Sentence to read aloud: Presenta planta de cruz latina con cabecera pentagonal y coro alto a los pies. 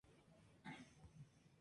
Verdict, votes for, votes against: rejected, 0, 4